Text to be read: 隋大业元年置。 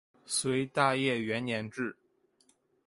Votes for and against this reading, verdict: 4, 1, accepted